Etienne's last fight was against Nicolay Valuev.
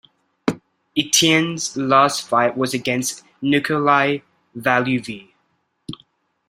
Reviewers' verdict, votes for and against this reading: rejected, 1, 2